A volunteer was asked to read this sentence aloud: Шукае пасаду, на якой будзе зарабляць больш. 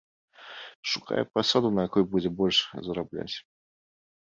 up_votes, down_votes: 0, 2